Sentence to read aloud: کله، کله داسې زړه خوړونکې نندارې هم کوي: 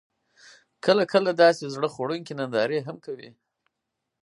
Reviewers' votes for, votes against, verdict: 4, 0, accepted